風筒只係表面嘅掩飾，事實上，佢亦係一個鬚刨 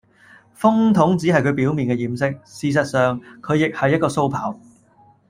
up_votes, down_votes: 1, 2